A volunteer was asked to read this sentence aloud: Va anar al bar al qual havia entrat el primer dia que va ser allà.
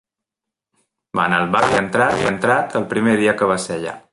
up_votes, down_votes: 0, 2